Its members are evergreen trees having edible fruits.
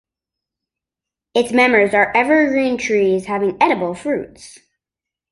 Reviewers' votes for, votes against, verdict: 2, 0, accepted